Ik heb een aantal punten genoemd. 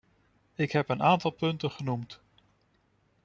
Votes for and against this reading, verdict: 2, 0, accepted